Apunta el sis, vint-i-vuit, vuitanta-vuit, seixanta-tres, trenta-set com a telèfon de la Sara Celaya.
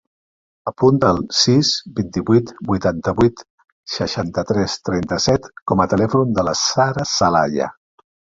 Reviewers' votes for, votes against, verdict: 2, 0, accepted